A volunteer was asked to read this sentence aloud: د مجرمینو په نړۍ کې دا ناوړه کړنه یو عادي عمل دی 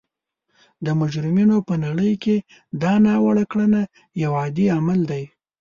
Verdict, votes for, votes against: accepted, 2, 0